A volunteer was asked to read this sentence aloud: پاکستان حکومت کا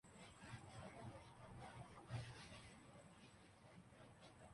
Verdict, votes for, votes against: rejected, 0, 3